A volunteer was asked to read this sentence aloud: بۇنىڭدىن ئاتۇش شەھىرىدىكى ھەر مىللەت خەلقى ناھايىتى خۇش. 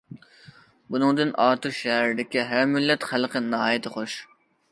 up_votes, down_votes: 2, 0